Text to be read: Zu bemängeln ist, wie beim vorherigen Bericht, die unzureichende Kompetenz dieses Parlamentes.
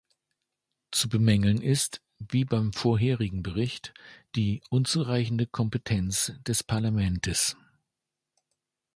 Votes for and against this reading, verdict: 1, 2, rejected